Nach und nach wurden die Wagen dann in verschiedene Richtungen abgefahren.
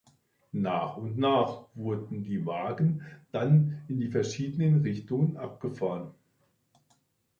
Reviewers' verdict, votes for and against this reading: rejected, 1, 2